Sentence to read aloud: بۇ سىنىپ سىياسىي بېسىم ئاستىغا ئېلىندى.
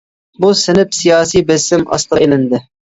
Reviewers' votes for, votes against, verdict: 2, 0, accepted